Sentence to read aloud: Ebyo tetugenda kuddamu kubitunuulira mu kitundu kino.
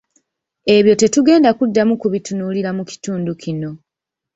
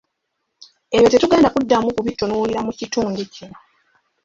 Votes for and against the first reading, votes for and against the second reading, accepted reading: 1, 2, 2, 0, second